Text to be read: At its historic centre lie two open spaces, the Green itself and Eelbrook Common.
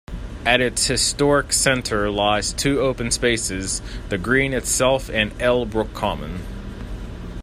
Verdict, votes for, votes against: rejected, 1, 2